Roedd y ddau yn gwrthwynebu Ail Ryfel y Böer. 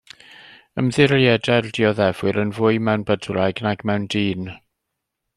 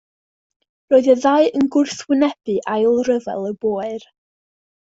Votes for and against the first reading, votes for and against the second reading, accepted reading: 0, 2, 2, 0, second